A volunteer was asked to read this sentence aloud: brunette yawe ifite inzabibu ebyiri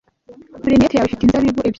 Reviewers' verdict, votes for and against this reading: rejected, 1, 2